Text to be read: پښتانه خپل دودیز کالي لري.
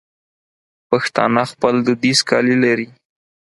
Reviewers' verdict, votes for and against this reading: accepted, 4, 0